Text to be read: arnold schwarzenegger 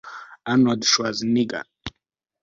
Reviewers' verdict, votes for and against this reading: rejected, 0, 2